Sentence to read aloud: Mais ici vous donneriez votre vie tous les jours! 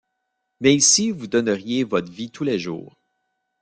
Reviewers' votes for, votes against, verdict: 2, 0, accepted